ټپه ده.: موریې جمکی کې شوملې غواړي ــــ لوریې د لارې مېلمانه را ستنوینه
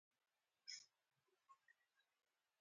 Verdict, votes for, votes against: rejected, 1, 2